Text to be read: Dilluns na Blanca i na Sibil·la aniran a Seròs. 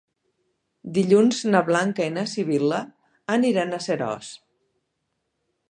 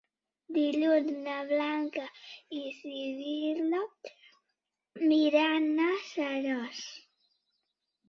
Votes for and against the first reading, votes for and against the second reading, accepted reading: 2, 0, 1, 2, first